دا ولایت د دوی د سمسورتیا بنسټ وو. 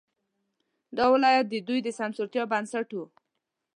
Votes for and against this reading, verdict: 1, 2, rejected